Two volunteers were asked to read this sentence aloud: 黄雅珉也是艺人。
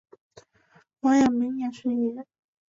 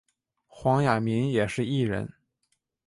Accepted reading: first